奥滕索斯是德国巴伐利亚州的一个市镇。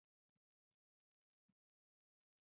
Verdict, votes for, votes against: rejected, 1, 2